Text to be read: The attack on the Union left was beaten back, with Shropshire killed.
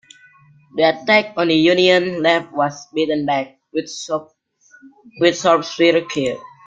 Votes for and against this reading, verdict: 0, 2, rejected